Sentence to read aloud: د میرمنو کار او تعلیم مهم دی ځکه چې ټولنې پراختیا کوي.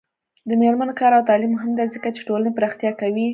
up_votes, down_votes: 2, 1